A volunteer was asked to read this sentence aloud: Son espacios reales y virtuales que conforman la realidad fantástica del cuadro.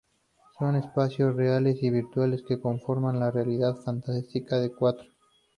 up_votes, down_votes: 2, 0